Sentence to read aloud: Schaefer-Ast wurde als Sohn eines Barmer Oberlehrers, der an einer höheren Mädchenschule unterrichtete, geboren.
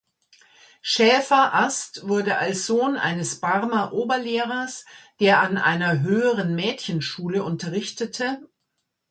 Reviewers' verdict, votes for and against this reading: rejected, 0, 2